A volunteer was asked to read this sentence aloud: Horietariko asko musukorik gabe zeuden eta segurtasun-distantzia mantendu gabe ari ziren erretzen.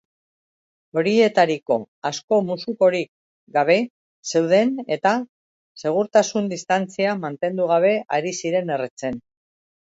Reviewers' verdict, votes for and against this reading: accepted, 2, 0